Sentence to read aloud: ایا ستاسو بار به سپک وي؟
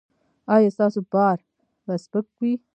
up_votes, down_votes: 1, 2